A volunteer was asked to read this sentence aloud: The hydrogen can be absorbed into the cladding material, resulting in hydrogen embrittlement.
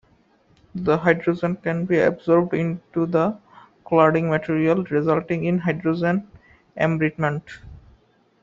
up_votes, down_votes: 2, 1